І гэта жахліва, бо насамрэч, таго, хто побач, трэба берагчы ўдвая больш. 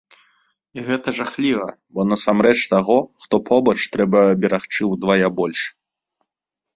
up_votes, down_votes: 3, 0